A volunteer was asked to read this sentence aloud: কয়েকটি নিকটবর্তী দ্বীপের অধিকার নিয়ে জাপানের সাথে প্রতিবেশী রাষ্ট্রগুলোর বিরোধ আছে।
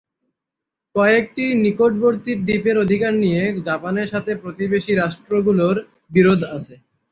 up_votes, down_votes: 0, 3